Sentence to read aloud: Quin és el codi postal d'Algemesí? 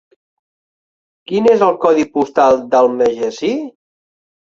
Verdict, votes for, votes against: rejected, 0, 2